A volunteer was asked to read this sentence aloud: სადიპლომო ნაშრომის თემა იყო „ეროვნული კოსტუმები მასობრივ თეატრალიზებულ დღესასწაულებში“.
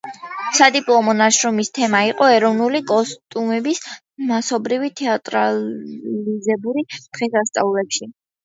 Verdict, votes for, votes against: rejected, 0, 2